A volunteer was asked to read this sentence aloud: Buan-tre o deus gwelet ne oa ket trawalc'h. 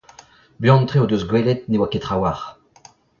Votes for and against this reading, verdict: 2, 0, accepted